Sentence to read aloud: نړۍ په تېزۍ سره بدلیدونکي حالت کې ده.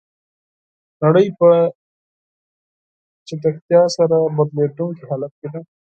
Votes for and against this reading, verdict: 2, 4, rejected